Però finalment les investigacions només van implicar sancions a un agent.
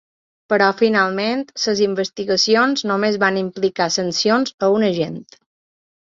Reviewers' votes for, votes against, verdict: 1, 2, rejected